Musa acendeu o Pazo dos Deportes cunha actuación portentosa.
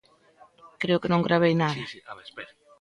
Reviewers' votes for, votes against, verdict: 0, 2, rejected